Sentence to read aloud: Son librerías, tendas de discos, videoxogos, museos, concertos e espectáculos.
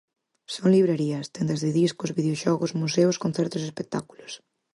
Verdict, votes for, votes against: accepted, 4, 0